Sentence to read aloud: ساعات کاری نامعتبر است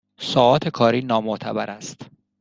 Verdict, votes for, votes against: accepted, 2, 0